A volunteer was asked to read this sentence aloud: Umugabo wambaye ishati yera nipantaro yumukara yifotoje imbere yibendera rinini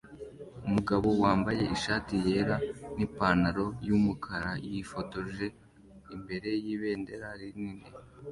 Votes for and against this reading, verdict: 2, 0, accepted